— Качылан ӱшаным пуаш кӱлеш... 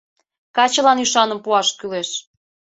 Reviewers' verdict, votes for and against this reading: accepted, 2, 0